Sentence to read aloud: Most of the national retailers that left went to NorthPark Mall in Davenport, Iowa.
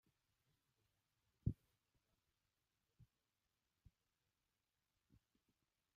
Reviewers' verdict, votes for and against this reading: rejected, 0, 2